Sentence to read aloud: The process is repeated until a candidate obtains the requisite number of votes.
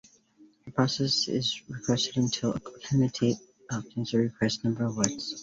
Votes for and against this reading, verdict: 0, 2, rejected